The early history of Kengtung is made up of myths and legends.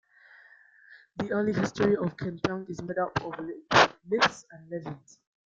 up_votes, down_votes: 1, 2